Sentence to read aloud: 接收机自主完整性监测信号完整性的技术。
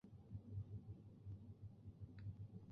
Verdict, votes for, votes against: rejected, 0, 2